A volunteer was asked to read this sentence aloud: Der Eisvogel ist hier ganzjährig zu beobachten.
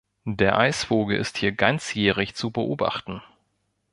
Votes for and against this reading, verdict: 2, 0, accepted